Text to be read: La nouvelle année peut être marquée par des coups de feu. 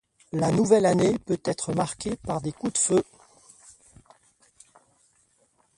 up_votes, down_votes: 2, 0